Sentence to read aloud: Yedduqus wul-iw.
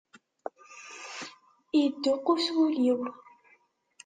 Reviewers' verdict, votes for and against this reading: accepted, 2, 0